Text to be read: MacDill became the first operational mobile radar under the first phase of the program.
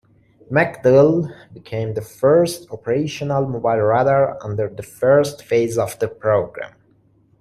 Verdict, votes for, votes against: accepted, 2, 1